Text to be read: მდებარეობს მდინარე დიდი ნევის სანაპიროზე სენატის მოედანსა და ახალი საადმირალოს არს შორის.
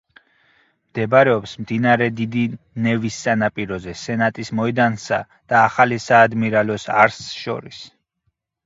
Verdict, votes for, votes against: rejected, 2, 4